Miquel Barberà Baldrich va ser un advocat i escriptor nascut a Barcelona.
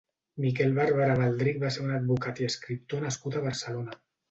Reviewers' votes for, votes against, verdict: 2, 0, accepted